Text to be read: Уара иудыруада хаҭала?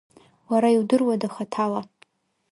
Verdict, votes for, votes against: accepted, 3, 0